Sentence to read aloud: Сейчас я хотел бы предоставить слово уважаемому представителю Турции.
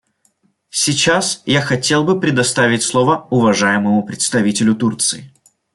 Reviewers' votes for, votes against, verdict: 2, 0, accepted